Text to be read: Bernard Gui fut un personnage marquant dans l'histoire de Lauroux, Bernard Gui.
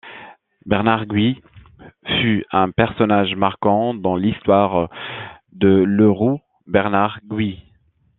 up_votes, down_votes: 1, 2